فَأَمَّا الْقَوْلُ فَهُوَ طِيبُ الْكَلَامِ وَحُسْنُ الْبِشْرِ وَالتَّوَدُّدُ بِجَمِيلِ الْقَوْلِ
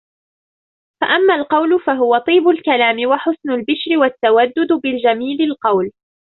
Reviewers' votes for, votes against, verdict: 1, 2, rejected